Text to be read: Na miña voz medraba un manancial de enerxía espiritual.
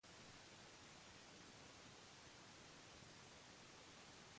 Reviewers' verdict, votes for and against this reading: rejected, 0, 2